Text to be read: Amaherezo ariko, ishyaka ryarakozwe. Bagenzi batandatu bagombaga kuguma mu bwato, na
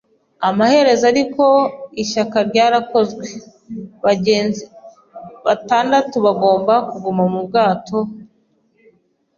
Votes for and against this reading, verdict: 1, 2, rejected